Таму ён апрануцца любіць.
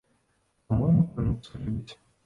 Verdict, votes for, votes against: rejected, 0, 2